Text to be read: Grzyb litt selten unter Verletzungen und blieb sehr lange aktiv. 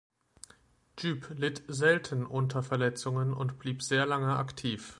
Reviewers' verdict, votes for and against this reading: accepted, 2, 0